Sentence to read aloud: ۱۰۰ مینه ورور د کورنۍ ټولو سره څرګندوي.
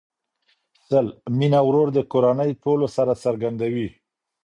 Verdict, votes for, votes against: rejected, 0, 2